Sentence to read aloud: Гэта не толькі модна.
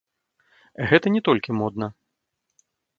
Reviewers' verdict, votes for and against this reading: rejected, 0, 2